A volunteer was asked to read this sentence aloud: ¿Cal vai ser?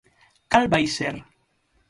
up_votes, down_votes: 6, 0